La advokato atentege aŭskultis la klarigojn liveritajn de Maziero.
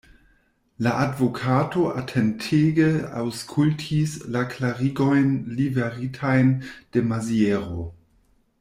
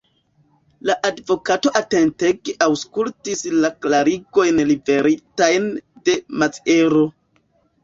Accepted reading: first